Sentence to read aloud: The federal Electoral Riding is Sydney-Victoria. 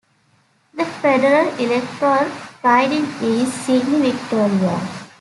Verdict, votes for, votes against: accepted, 2, 0